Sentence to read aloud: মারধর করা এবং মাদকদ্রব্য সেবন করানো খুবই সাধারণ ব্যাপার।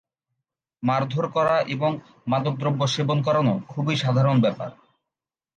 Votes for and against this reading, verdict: 2, 0, accepted